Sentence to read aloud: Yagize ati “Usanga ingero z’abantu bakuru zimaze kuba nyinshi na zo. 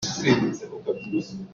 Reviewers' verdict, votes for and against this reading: rejected, 0, 2